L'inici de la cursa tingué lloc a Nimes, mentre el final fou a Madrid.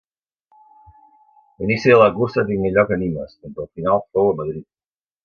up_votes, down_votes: 2, 0